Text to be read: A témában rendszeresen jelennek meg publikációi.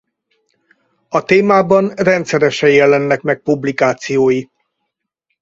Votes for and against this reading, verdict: 4, 0, accepted